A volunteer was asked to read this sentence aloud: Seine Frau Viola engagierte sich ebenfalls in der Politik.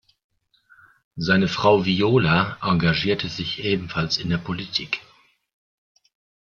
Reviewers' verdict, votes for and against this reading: accepted, 2, 0